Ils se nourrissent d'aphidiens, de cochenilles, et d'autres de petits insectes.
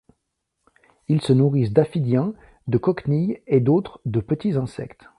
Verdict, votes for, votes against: rejected, 1, 2